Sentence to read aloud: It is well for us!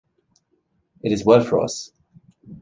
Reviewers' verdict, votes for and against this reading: rejected, 1, 2